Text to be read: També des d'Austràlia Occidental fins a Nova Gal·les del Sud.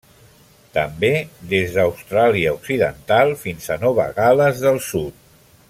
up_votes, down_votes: 3, 0